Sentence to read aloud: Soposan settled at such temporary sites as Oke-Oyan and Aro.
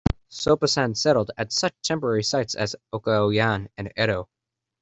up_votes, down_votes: 2, 0